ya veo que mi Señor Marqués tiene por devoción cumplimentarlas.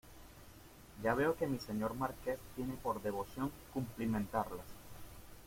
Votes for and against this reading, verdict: 2, 1, accepted